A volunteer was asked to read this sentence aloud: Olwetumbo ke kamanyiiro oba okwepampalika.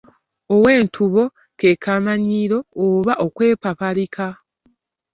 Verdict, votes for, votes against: rejected, 1, 2